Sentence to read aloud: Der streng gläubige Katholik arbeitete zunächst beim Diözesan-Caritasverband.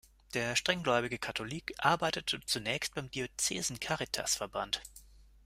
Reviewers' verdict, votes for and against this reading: rejected, 0, 2